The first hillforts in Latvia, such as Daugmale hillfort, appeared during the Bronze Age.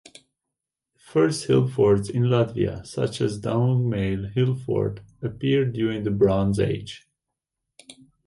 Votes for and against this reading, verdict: 2, 0, accepted